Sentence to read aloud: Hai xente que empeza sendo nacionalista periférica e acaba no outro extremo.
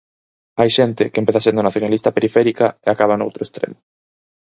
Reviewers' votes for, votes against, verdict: 4, 2, accepted